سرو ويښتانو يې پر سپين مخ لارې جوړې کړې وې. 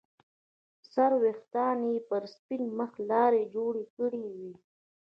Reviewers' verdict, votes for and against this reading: rejected, 1, 2